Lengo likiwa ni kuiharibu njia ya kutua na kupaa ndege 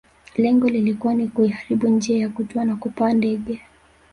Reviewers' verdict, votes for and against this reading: accepted, 2, 1